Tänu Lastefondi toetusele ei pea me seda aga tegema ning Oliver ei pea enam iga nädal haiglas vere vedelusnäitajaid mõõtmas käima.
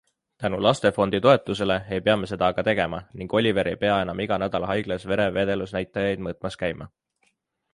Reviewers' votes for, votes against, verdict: 2, 0, accepted